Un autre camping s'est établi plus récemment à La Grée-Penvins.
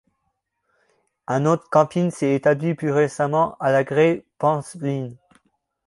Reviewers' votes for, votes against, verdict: 0, 2, rejected